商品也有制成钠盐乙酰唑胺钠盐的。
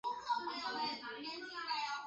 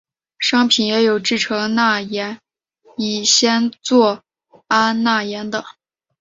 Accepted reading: second